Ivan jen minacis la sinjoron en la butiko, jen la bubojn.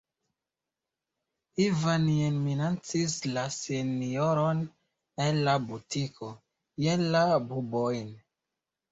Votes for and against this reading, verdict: 2, 0, accepted